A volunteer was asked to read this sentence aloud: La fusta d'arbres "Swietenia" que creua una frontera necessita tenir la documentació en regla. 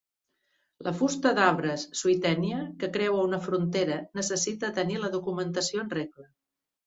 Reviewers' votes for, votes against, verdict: 2, 0, accepted